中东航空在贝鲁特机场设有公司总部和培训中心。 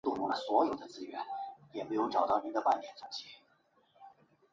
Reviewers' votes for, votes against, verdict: 1, 3, rejected